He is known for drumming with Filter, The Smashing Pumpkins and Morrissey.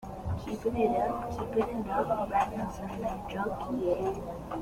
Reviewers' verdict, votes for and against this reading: rejected, 0, 2